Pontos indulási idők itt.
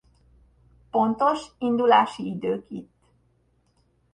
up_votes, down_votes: 1, 2